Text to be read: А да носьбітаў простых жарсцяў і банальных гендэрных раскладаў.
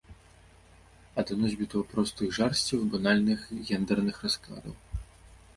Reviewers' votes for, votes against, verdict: 2, 0, accepted